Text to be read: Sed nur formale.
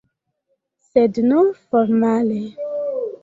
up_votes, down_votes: 0, 2